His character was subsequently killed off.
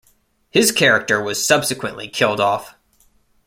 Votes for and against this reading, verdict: 1, 2, rejected